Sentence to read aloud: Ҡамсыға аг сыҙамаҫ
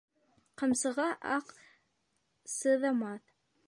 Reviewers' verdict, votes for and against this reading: rejected, 0, 2